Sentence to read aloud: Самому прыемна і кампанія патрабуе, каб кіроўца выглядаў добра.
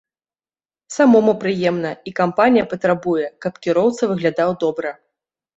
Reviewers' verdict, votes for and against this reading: accepted, 2, 0